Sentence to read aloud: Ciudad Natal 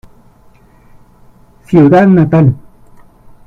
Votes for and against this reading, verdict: 2, 1, accepted